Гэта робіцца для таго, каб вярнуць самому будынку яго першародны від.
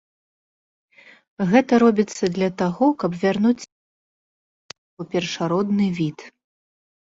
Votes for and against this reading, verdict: 0, 2, rejected